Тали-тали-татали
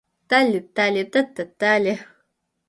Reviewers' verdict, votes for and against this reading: rejected, 1, 2